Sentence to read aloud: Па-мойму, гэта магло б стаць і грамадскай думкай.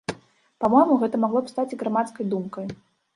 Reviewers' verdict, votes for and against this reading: rejected, 0, 2